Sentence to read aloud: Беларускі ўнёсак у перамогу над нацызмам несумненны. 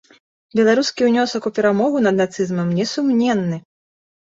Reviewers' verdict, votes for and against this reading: accepted, 4, 0